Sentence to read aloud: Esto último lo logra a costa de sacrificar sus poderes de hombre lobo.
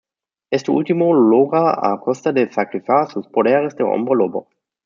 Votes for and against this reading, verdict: 0, 2, rejected